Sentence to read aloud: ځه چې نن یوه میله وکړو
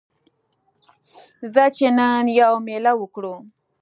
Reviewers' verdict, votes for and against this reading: accepted, 2, 0